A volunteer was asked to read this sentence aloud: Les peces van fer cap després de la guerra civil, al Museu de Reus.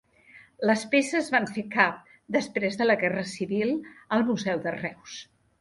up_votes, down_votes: 2, 0